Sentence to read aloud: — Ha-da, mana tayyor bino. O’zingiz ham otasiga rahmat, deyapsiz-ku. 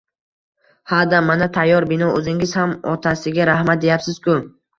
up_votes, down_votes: 2, 0